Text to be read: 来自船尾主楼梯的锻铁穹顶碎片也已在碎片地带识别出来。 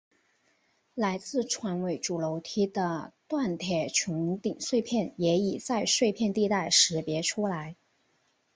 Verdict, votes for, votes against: accepted, 2, 0